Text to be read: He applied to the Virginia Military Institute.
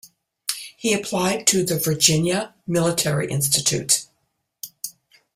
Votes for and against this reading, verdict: 2, 0, accepted